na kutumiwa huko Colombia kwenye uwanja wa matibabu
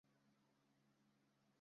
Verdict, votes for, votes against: rejected, 0, 2